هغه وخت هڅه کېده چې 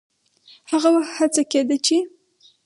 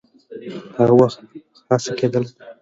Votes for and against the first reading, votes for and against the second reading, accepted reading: 6, 0, 1, 3, first